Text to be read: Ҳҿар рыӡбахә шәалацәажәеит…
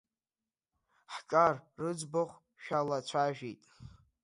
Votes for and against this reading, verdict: 2, 0, accepted